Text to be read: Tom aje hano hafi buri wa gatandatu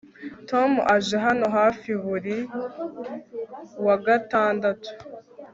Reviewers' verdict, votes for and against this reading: accepted, 2, 0